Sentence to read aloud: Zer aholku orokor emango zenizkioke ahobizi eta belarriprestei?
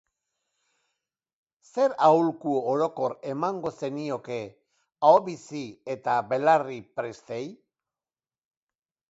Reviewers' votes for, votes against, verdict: 0, 2, rejected